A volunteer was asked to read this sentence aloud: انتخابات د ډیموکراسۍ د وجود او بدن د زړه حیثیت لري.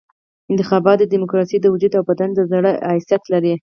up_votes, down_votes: 2, 4